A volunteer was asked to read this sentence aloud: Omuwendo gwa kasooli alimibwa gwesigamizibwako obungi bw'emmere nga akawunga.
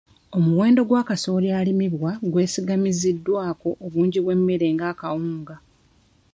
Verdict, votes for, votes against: rejected, 0, 3